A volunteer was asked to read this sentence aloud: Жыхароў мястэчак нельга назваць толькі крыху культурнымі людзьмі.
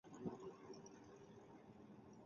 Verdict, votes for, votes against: rejected, 0, 2